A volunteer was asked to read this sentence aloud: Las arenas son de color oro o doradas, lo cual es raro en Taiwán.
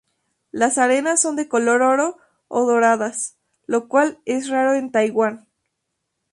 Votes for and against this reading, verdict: 2, 0, accepted